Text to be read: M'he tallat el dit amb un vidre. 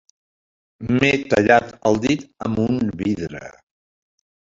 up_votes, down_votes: 3, 0